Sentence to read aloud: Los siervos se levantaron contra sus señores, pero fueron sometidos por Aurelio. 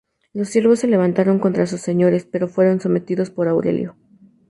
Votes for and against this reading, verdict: 2, 0, accepted